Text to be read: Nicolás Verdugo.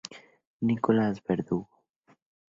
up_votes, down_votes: 2, 0